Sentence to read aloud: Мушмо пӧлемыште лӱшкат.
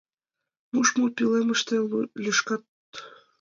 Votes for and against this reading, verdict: 0, 2, rejected